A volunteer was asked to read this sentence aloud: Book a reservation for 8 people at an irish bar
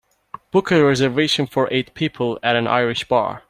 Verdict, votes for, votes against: rejected, 0, 2